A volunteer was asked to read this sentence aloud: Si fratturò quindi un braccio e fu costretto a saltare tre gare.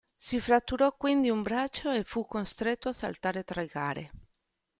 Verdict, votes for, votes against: accepted, 2, 0